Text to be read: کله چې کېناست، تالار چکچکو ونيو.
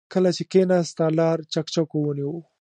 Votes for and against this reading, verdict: 2, 0, accepted